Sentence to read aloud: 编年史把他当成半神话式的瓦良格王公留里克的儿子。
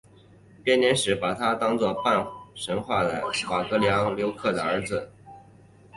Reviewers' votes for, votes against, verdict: 2, 4, rejected